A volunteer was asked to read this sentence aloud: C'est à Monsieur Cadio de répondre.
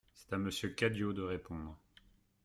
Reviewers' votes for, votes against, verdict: 1, 2, rejected